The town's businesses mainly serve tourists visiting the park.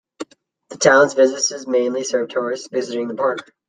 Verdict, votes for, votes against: accepted, 2, 0